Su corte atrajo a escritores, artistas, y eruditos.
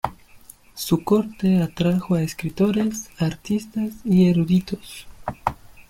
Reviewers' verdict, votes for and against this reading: accepted, 2, 0